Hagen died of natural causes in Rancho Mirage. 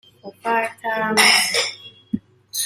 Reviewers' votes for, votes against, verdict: 0, 2, rejected